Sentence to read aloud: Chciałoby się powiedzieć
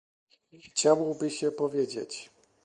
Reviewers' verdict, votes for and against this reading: accepted, 2, 0